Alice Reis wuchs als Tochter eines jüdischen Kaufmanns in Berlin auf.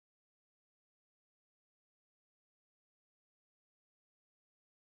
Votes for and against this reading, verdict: 0, 2, rejected